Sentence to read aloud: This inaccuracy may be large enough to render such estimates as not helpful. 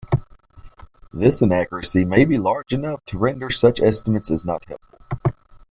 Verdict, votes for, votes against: accepted, 2, 0